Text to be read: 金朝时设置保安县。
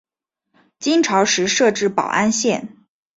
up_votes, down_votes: 9, 0